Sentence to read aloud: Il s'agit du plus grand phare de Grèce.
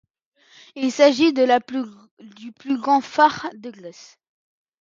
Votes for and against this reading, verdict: 0, 2, rejected